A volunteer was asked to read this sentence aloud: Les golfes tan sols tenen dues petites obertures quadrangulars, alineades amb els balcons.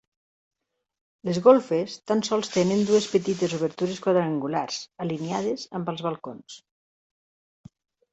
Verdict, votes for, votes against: accepted, 3, 0